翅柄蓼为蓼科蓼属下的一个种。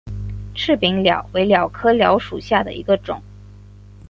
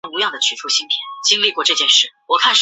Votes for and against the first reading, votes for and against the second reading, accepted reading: 3, 1, 0, 4, first